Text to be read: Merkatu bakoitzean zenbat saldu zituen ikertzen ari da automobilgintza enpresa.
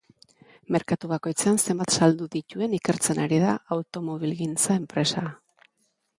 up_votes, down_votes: 2, 0